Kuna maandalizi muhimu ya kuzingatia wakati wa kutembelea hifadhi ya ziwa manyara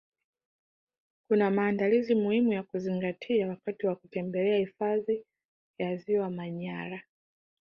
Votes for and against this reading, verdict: 2, 1, accepted